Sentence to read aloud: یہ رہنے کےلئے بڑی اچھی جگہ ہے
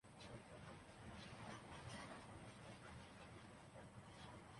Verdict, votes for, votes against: rejected, 0, 2